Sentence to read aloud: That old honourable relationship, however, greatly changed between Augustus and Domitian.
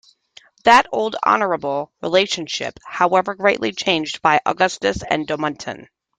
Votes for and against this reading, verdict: 0, 2, rejected